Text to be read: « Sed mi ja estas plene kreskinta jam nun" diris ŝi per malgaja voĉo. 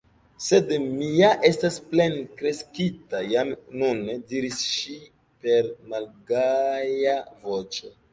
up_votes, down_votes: 1, 2